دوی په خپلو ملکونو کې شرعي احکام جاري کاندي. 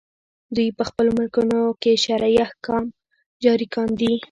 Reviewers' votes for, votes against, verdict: 1, 2, rejected